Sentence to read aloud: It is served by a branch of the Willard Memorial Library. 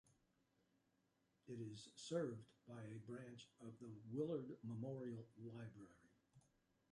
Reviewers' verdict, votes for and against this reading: rejected, 0, 2